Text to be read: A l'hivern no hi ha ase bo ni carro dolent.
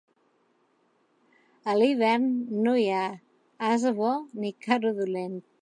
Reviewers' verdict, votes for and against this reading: accepted, 3, 0